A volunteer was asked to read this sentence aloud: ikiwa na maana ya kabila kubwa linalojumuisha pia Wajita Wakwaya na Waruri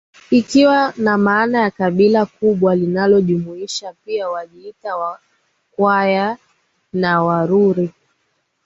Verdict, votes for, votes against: accepted, 2, 0